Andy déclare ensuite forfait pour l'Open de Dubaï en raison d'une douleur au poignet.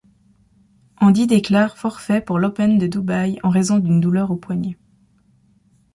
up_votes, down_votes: 0, 2